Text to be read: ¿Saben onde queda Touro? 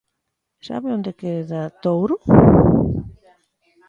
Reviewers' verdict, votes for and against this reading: rejected, 0, 2